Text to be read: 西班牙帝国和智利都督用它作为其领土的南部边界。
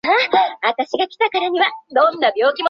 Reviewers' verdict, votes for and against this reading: rejected, 0, 5